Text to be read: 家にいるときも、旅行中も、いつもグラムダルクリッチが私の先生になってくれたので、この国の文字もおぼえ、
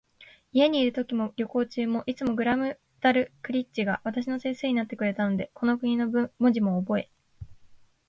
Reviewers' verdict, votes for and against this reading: accepted, 2, 0